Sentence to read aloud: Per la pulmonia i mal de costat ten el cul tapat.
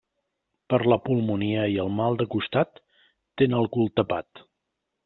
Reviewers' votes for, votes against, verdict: 1, 2, rejected